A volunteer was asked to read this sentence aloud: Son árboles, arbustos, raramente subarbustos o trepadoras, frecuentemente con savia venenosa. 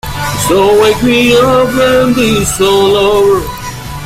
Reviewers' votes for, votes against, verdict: 0, 2, rejected